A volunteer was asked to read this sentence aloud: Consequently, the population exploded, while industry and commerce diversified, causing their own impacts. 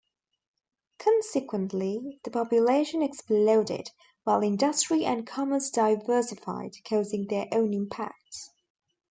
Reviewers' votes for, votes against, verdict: 2, 0, accepted